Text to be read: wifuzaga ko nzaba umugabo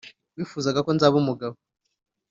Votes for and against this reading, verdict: 2, 0, accepted